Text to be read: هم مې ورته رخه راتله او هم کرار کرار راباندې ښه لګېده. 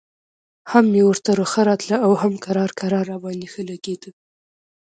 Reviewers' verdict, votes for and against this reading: accepted, 2, 0